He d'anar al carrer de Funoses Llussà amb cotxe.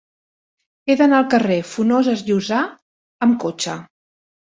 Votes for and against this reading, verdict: 1, 2, rejected